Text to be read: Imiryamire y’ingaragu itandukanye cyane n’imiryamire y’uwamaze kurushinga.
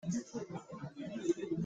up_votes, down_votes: 1, 2